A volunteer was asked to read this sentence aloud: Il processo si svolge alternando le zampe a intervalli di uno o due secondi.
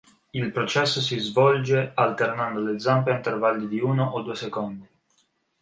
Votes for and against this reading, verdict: 3, 0, accepted